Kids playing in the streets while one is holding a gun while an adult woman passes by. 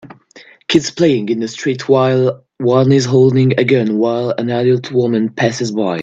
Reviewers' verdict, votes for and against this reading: rejected, 1, 2